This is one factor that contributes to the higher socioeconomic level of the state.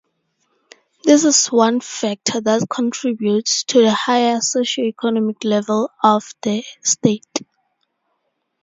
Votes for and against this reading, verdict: 4, 0, accepted